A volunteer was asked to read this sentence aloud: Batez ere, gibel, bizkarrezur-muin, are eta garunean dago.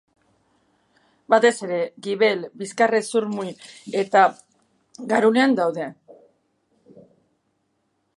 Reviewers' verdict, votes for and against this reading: rejected, 2, 3